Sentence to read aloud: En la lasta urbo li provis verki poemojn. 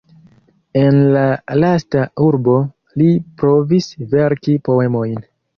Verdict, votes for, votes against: accepted, 2, 0